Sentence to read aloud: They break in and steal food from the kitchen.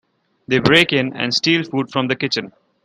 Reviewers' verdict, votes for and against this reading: accepted, 2, 1